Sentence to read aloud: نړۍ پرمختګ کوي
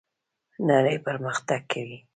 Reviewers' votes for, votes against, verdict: 2, 0, accepted